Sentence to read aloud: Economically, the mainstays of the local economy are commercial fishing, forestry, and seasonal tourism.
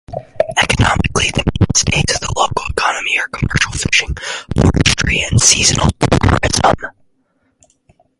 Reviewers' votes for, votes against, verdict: 2, 4, rejected